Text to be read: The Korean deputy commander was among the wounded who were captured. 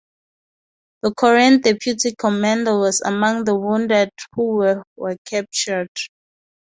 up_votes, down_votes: 2, 0